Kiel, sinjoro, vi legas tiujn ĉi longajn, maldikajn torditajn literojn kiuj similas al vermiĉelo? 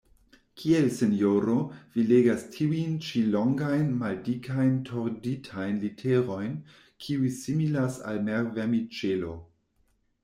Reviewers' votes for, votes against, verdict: 0, 2, rejected